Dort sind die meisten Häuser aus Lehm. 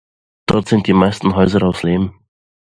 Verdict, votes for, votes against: accepted, 2, 1